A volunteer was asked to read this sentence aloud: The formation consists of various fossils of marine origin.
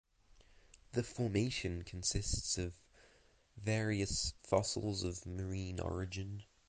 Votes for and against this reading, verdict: 2, 0, accepted